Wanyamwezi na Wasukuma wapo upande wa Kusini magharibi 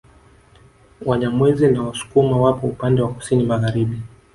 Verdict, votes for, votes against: accepted, 3, 0